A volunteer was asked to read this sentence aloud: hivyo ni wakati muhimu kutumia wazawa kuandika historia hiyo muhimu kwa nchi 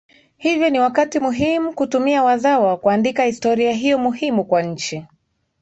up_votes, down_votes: 2, 0